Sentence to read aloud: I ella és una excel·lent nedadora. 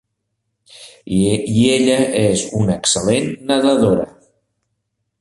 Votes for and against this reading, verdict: 1, 2, rejected